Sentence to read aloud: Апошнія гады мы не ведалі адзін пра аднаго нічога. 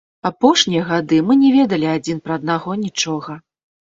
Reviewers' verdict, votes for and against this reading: rejected, 1, 3